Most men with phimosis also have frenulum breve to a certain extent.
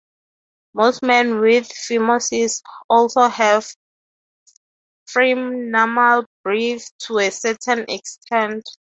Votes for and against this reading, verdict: 0, 3, rejected